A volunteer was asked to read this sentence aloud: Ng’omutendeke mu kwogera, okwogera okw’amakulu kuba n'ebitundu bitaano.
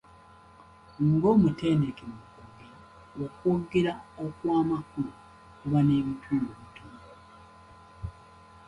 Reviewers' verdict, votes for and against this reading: rejected, 0, 2